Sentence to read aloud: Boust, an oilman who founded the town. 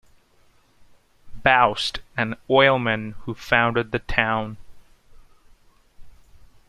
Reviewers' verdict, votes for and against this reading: accepted, 2, 1